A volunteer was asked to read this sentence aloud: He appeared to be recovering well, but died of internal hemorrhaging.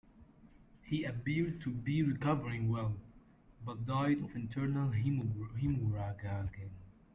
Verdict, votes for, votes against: rejected, 0, 2